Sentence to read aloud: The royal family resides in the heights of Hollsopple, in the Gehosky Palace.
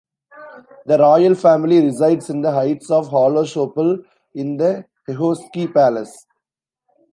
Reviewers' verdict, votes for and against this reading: rejected, 2, 3